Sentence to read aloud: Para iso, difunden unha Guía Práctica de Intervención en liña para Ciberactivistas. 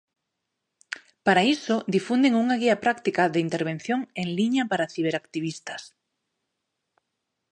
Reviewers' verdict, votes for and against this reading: accepted, 2, 0